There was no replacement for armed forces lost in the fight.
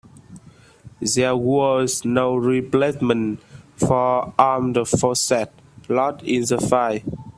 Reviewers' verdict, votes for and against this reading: rejected, 0, 2